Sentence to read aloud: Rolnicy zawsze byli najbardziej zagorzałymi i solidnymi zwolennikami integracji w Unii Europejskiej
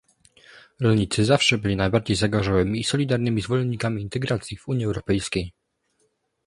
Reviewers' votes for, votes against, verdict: 1, 2, rejected